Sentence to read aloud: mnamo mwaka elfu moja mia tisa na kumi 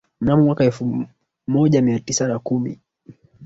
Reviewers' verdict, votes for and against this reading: rejected, 2, 3